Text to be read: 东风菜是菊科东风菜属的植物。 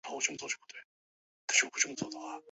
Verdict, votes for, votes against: rejected, 0, 5